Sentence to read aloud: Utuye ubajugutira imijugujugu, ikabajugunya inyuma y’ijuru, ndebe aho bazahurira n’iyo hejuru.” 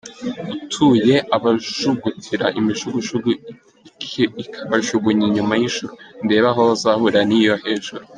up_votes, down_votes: 0, 2